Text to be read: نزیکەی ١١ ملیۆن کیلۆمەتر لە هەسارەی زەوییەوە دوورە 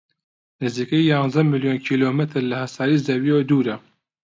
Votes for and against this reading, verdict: 0, 2, rejected